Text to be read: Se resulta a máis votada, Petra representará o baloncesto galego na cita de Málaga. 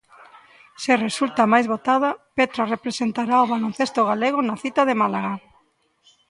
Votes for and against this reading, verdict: 2, 0, accepted